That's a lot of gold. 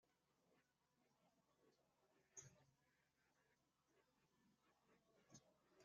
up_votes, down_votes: 0, 2